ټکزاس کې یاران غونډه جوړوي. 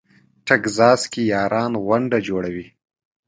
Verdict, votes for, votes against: accepted, 2, 0